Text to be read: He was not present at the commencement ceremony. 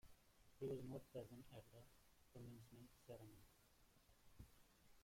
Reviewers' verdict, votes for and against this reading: rejected, 0, 2